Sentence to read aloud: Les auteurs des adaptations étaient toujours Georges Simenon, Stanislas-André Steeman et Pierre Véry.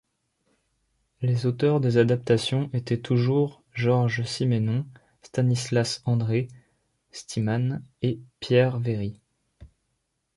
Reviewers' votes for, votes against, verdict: 0, 2, rejected